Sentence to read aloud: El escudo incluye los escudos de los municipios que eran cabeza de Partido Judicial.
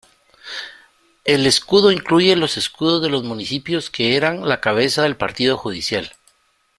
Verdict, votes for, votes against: rejected, 0, 2